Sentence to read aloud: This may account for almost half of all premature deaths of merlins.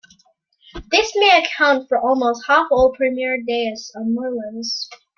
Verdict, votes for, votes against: rejected, 0, 2